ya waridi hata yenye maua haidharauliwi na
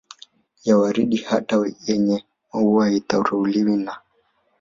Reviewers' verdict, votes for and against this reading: rejected, 0, 2